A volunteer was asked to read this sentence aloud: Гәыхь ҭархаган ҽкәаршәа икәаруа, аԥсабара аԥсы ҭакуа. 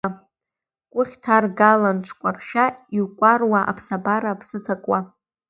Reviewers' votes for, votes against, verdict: 0, 2, rejected